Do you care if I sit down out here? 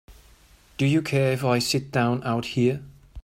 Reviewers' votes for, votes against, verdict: 2, 0, accepted